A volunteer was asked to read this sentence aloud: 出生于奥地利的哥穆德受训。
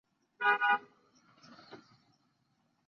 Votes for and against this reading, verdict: 2, 3, rejected